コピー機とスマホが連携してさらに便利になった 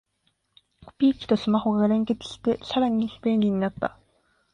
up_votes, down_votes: 4, 5